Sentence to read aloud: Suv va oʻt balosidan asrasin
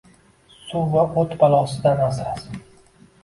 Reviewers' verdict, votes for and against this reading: rejected, 1, 2